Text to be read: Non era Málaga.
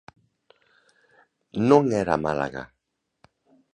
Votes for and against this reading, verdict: 2, 0, accepted